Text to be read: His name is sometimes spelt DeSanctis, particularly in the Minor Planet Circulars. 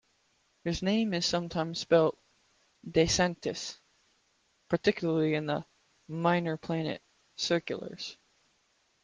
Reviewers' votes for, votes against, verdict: 2, 0, accepted